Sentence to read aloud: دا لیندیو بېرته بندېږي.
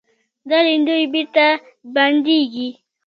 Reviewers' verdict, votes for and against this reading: rejected, 1, 2